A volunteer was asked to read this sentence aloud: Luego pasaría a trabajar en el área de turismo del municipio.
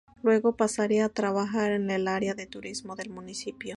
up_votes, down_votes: 4, 0